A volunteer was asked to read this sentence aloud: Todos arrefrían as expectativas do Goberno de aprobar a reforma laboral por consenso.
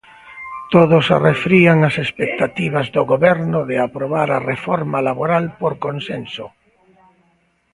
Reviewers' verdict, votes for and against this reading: rejected, 1, 2